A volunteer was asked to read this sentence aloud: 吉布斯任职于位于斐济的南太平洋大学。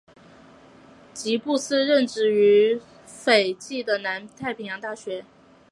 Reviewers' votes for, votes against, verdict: 2, 1, accepted